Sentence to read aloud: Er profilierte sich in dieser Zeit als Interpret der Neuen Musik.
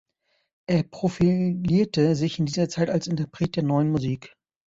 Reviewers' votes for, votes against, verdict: 1, 2, rejected